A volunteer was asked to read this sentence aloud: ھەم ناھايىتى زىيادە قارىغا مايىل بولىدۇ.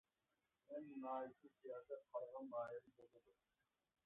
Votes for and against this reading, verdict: 0, 2, rejected